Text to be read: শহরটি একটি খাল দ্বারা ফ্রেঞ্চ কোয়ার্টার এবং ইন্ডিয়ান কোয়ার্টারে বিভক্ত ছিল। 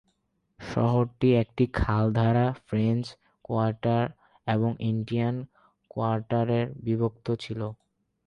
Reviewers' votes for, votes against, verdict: 4, 4, rejected